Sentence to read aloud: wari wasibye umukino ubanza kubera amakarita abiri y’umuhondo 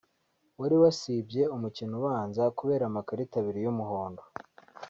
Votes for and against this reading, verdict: 2, 0, accepted